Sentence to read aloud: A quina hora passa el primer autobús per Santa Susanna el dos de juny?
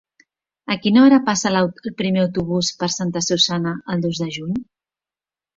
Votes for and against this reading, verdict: 0, 3, rejected